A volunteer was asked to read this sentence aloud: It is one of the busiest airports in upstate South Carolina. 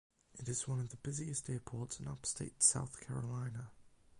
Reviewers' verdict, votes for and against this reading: rejected, 4, 8